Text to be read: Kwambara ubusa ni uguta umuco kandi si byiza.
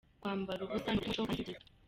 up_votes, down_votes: 0, 2